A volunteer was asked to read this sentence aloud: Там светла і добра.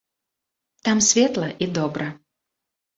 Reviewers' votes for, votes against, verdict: 1, 2, rejected